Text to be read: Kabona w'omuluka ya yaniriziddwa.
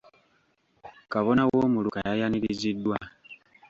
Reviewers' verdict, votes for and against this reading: accepted, 2, 1